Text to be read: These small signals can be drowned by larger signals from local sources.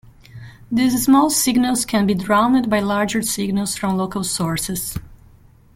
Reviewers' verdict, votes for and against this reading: rejected, 0, 2